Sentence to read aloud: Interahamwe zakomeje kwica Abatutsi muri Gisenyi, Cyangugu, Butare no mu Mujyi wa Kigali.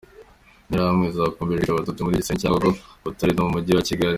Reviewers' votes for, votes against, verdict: 2, 1, accepted